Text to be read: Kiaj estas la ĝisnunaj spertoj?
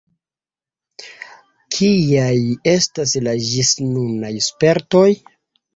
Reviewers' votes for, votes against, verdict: 2, 0, accepted